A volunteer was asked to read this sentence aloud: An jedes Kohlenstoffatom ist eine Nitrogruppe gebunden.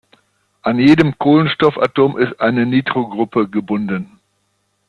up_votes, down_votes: 0, 2